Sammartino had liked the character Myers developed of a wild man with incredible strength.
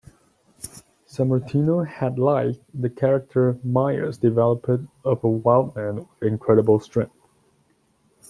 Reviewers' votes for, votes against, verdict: 2, 0, accepted